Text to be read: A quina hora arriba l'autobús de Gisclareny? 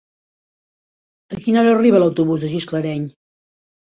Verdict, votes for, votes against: accepted, 2, 0